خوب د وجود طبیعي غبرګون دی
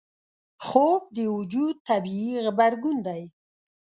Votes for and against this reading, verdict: 2, 0, accepted